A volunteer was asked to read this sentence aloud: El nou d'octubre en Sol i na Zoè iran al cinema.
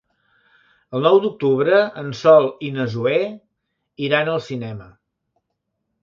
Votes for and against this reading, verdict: 3, 0, accepted